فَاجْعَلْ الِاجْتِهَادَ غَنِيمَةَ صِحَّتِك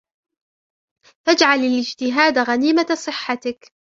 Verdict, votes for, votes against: rejected, 1, 2